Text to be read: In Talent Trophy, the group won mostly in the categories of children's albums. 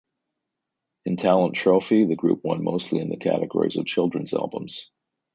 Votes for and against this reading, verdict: 2, 0, accepted